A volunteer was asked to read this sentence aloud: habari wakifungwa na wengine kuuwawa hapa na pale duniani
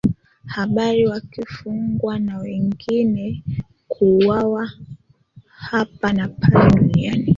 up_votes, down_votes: 2, 3